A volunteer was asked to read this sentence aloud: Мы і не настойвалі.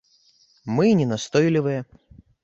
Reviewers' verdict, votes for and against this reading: rejected, 0, 2